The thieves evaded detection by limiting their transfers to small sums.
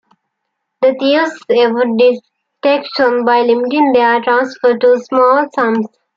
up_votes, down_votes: 2, 3